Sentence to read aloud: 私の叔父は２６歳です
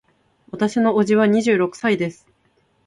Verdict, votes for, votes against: rejected, 0, 2